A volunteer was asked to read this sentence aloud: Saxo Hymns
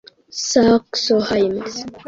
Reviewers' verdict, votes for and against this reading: rejected, 0, 2